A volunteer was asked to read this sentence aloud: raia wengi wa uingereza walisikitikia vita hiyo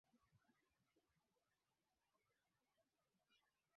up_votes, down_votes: 0, 2